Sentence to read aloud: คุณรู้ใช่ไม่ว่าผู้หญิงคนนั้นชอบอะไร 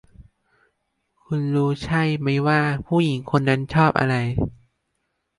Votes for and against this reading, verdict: 1, 2, rejected